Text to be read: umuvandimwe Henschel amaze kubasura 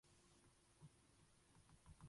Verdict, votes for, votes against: rejected, 0, 2